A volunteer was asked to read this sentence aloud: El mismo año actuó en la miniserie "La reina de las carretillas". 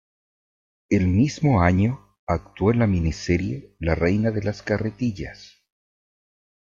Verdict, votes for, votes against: accepted, 2, 0